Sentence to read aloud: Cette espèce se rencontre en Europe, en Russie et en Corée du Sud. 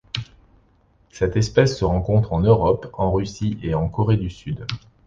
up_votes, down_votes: 2, 0